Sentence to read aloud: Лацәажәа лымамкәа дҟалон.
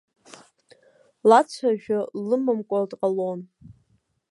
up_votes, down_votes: 2, 0